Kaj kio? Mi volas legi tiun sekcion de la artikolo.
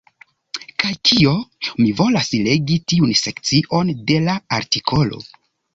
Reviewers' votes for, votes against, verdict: 2, 0, accepted